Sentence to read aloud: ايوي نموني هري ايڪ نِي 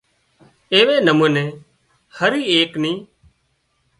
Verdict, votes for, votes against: accepted, 2, 0